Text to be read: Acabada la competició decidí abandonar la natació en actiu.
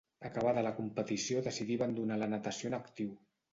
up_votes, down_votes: 2, 0